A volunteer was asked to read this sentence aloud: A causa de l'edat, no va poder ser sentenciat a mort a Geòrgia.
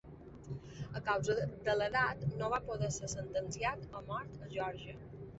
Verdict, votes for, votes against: rejected, 0, 2